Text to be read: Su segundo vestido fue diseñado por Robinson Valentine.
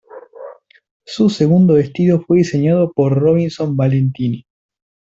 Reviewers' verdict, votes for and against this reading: accepted, 2, 1